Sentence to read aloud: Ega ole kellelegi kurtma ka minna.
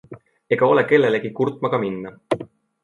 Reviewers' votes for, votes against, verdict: 2, 0, accepted